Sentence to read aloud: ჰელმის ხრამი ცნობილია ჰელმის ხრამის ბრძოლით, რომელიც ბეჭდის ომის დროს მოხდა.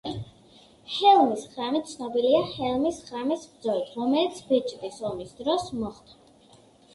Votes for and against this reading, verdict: 2, 0, accepted